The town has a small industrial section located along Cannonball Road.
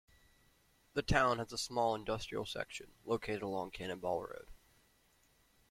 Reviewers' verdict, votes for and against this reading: accepted, 2, 0